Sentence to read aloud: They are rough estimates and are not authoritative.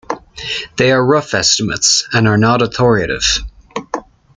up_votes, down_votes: 2, 0